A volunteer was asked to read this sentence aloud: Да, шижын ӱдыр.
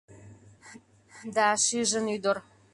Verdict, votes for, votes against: accepted, 2, 0